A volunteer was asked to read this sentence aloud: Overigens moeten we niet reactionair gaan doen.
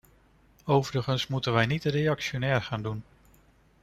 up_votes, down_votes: 2, 0